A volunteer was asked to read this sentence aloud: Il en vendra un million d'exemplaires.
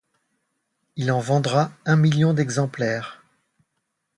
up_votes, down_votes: 2, 0